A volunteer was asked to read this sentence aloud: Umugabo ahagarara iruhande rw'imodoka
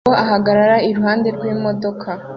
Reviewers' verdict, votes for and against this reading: rejected, 0, 2